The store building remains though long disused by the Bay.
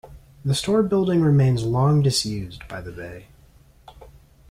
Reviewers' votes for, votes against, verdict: 1, 2, rejected